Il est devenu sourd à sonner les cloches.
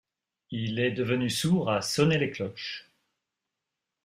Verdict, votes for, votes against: accepted, 2, 0